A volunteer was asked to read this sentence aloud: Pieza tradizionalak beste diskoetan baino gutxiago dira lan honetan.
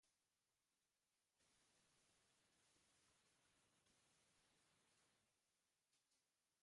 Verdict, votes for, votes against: rejected, 0, 2